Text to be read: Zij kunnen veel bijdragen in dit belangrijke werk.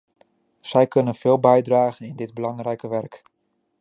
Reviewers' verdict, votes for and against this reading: accepted, 2, 0